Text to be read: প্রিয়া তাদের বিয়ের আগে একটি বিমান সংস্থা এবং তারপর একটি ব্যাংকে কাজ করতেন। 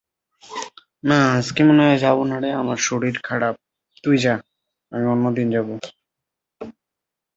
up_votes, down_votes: 0, 2